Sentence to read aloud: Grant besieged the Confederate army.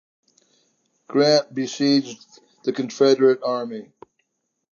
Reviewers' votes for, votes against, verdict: 2, 0, accepted